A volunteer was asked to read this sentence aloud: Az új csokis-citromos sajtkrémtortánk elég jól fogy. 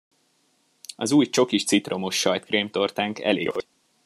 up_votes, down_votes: 0, 2